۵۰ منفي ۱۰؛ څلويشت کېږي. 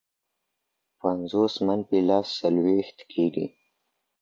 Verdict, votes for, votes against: rejected, 0, 2